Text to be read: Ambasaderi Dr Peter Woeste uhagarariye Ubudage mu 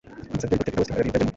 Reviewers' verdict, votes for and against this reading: rejected, 0, 3